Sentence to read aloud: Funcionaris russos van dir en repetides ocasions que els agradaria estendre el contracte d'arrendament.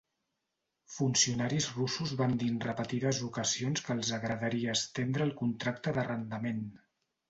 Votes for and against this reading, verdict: 2, 1, accepted